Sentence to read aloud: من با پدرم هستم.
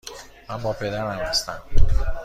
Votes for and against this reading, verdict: 2, 0, accepted